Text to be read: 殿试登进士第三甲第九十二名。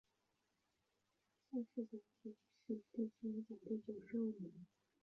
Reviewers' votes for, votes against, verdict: 0, 2, rejected